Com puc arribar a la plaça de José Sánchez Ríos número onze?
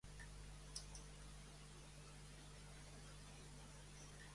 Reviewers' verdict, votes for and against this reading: rejected, 0, 3